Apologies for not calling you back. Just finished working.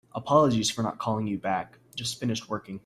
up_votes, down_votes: 2, 1